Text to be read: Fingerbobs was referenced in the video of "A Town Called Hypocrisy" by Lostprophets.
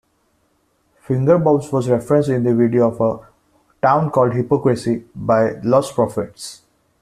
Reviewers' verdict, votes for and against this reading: accepted, 2, 0